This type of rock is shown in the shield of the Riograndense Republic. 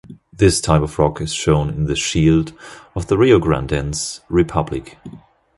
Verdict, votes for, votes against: accepted, 2, 0